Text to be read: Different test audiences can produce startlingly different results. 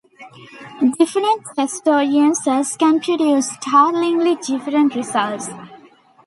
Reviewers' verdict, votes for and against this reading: rejected, 1, 2